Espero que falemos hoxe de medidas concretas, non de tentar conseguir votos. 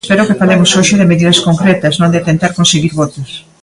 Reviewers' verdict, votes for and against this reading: rejected, 1, 2